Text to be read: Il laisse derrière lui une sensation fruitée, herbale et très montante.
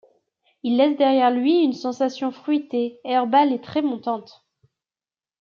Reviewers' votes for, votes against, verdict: 2, 0, accepted